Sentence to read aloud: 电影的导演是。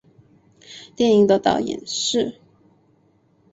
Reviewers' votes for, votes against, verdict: 2, 1, accepted